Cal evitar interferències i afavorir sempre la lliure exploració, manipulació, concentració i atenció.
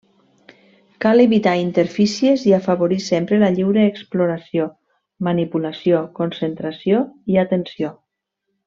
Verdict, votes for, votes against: rejected, 1, 2